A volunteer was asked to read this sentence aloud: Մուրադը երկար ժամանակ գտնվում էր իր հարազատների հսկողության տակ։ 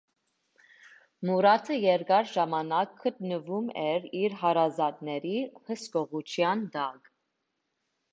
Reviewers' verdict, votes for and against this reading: accepted, 2, 0